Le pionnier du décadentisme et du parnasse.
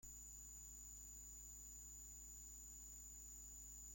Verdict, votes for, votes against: rejected, 0, 2